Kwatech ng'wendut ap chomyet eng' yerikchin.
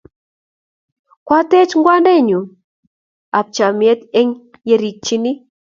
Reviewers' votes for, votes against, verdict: 3, 0, accepted